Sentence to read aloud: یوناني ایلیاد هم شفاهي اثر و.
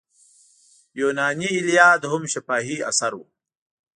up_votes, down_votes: 2, 0